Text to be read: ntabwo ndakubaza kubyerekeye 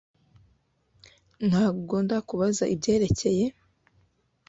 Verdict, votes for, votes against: rejected, 1, 2